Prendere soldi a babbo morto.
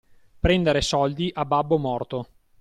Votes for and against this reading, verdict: 2, 0, accepted